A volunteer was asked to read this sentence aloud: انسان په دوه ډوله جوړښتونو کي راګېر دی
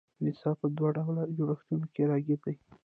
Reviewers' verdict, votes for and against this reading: rejected, 1, 2